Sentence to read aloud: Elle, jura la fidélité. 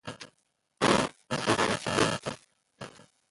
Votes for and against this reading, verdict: 0, 2, rejected